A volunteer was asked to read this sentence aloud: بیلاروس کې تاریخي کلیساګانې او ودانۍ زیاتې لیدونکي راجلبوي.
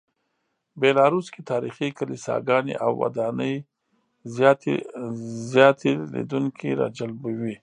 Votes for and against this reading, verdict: 0, 2, rejected